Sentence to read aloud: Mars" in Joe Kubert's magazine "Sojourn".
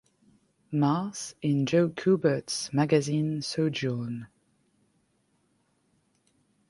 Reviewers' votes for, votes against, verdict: 2, 0, accepted